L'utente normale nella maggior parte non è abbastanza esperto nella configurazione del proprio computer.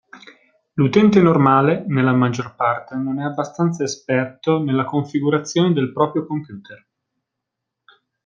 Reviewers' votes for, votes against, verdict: 2, 0, accepted